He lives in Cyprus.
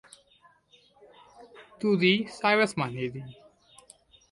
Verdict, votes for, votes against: rejected, 0, 2